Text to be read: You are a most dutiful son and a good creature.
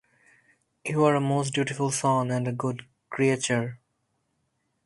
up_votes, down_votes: 4, 0